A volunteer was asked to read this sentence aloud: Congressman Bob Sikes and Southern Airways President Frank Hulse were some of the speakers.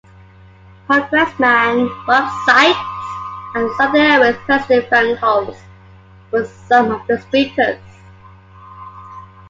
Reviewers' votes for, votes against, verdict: 0, 2, rejected